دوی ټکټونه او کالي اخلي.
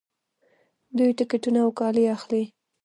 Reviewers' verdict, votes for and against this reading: accepted, 2, 1